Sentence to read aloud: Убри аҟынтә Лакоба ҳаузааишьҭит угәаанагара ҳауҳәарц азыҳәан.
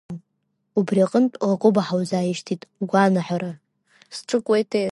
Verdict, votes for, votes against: accepted, 2, 1